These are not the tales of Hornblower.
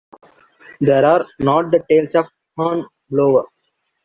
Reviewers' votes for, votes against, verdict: 0, 2, rejected